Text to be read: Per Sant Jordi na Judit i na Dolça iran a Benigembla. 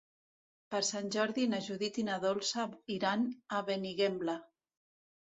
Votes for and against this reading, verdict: 2, 1, accepted